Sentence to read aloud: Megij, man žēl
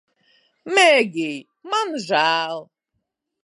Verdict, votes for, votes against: rejected, 1, 2